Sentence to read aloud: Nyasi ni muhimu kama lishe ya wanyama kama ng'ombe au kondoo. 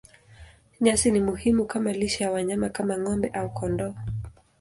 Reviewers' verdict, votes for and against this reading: accepted, 2, 0